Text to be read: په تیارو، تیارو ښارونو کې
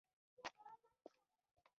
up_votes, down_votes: 1, 2